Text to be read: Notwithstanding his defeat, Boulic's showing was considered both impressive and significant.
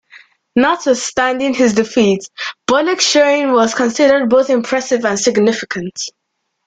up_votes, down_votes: 1, 2